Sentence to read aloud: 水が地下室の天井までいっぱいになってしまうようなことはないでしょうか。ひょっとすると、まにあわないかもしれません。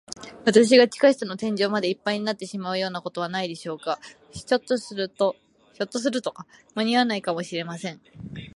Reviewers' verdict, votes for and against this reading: rejected, 11, 11